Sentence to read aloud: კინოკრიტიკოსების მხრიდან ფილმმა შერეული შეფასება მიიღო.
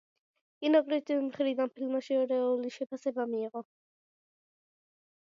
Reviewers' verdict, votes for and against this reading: rejected, 0, 2